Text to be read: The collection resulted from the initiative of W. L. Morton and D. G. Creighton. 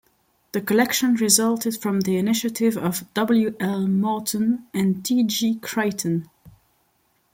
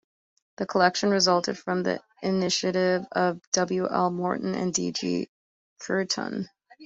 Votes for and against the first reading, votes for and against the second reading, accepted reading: 2, 0, 0, 2, first